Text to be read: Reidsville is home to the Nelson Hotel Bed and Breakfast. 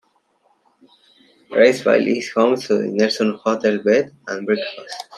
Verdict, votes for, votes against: rejected, 1, 2